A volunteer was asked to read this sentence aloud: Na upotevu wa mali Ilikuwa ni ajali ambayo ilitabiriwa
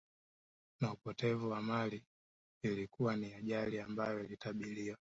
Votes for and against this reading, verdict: 2, 0, accepted